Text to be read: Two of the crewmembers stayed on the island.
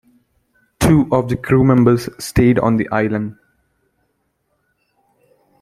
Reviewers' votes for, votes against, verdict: 2, 0, accepted